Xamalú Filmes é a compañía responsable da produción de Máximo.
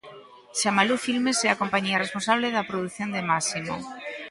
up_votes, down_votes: 2, 0